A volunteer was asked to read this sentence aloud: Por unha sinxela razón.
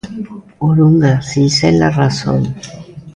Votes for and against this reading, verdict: 1, 2, rejected